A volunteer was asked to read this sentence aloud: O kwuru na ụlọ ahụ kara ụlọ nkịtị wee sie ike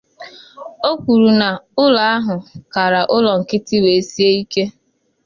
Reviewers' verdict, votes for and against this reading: accepted, 2, 0